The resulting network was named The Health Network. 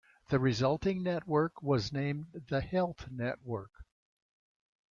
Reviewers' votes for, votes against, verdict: 2, 0, accepted